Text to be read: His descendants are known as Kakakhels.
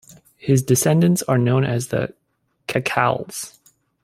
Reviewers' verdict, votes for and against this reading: rejected, 0, 2